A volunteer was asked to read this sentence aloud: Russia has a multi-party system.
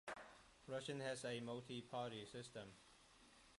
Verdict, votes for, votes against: rejected, 0, 2